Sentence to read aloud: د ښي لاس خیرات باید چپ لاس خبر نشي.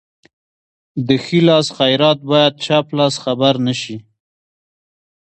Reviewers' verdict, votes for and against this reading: rejected, 1, 2